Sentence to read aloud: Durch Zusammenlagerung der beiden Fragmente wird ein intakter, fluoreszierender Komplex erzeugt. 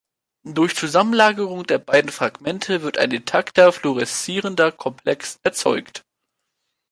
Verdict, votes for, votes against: accepted, 2, 0